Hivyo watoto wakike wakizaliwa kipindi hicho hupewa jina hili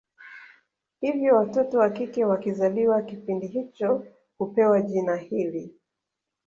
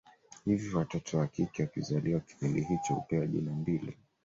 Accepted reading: first